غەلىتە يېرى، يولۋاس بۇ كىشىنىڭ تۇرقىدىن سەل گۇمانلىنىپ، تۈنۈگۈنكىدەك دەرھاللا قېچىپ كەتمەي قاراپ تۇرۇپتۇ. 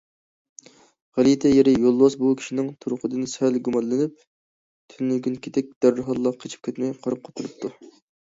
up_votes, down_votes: 0, 2